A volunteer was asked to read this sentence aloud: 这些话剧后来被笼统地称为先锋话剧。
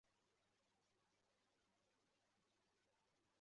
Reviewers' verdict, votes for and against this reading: rejected, 0, 2